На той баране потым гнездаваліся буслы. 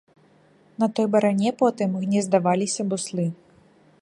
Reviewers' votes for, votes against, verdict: 2, 1, accepted